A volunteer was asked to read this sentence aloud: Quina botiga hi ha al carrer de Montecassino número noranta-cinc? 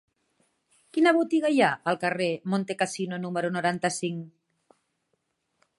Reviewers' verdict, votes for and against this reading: rejected, 1, 2